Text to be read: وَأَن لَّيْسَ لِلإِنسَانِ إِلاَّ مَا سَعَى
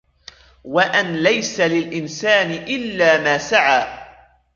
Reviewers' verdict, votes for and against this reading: rejected, 0, 2